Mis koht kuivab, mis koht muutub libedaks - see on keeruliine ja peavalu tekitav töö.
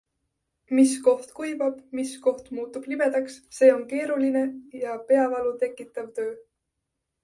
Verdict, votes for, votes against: accepted, 2, 0